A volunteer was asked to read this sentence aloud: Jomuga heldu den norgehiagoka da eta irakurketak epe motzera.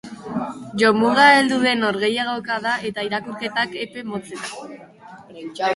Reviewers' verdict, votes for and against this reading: rejected, 0, 2